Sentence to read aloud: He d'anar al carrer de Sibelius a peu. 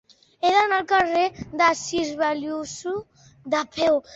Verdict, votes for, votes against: rejected, 1, 2